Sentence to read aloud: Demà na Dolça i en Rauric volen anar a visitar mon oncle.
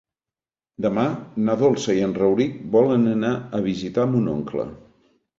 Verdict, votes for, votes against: accepted, 3, 0